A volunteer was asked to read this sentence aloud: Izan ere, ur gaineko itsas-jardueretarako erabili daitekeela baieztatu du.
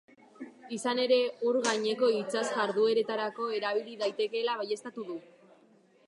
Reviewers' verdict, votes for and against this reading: accepted, 2, 0